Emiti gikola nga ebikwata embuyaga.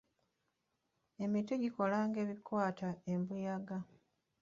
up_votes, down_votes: 0, 2